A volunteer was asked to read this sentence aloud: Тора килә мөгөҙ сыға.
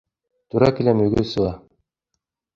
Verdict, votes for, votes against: rejected, 1, 2